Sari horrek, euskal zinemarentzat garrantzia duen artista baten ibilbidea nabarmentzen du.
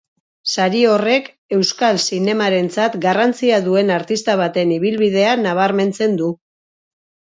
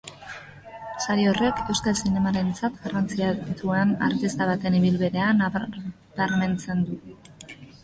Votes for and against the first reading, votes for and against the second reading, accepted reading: 2, 0, 0, 3, first